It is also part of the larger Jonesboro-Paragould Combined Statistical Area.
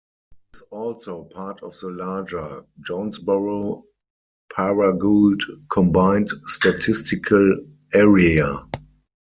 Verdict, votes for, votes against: rejected, 2, 4